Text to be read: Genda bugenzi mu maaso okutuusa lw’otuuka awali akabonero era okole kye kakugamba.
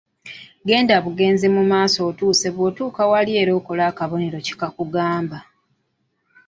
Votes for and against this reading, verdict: 0, 2, rejected